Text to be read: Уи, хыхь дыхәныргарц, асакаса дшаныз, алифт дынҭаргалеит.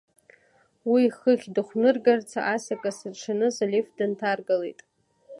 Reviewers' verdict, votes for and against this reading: rejected, 1, 2